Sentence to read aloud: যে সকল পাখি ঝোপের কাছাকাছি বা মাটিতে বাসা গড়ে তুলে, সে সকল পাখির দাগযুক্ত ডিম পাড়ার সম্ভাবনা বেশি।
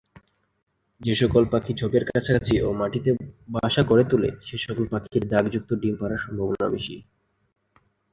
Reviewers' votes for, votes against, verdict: 6, 8, rejected